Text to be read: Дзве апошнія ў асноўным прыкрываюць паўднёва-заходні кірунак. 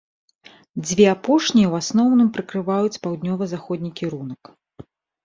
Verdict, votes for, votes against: accepted, 2, 0